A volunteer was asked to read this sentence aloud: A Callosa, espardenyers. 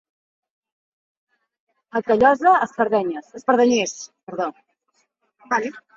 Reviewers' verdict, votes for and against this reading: rejected, 1, 2